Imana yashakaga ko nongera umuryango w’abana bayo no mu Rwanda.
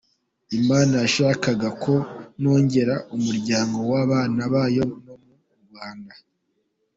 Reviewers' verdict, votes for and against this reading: rejected, 1, 2